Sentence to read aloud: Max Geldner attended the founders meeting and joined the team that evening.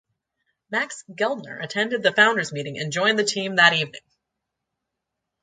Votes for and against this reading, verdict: 2, 0, accepted